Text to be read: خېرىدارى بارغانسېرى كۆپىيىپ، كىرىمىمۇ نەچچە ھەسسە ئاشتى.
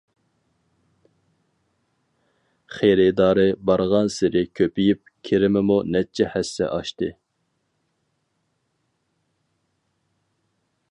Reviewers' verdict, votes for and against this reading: accepted, 4, 0